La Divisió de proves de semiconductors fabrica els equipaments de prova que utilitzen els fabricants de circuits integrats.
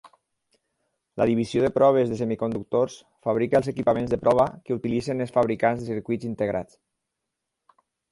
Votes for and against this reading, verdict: 6, 0, accepted